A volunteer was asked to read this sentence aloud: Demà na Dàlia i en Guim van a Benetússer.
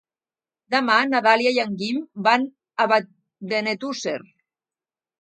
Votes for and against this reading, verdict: 1, 2, rejected